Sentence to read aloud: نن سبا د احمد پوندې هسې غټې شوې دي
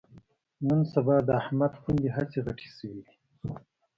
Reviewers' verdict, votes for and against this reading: accepted, 2, 0